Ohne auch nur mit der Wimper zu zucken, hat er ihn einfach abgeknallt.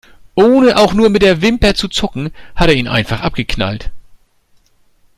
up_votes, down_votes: 2, 0